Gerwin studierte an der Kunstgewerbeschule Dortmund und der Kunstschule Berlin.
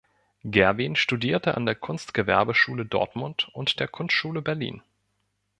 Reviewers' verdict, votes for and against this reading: accepted, 2, 0